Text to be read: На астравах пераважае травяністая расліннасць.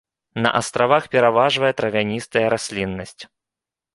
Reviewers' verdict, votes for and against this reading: rejected, 1, 2